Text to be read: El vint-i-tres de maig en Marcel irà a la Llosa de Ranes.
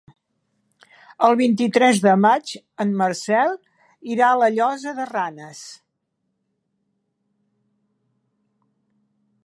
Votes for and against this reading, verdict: 4, 0, accepted